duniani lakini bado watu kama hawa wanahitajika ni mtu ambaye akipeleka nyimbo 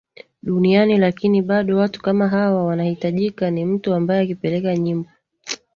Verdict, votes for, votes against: accepted, 2, 0